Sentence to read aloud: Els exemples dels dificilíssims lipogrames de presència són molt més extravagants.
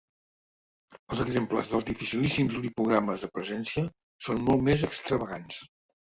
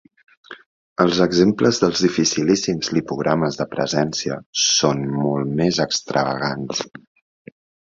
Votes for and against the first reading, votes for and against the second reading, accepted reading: 0, 2, 8, 0, second